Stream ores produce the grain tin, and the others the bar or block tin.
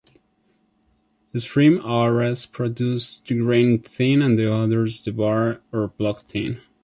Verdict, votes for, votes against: rejected, 0, 2